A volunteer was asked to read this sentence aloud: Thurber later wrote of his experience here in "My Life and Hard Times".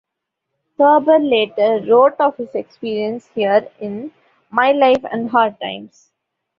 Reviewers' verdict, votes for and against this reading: accepted, 2, 0